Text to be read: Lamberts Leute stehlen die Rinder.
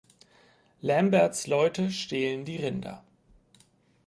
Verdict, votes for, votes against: accepted, 4, 0